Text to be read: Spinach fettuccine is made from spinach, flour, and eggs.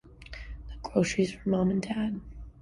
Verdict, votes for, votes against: rejected, 0, 2